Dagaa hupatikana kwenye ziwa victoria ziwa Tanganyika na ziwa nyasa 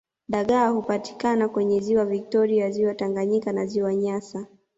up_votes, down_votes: 2, 0